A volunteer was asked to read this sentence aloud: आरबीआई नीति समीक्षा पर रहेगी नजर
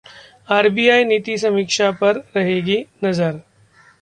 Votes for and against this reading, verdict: 2, 0, accepted